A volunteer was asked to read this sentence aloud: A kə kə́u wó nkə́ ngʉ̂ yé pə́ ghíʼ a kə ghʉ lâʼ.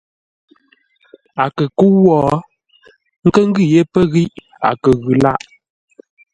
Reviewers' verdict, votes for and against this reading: accepted, 2, 0